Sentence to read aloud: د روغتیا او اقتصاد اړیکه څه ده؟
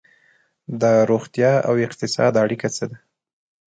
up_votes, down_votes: 2, 0